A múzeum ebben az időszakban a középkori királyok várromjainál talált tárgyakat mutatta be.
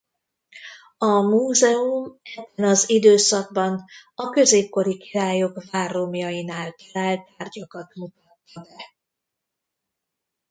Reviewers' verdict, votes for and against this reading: rejected, 0, 2